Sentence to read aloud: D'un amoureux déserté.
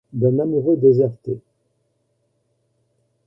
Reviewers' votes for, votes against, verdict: 1, 2, rejected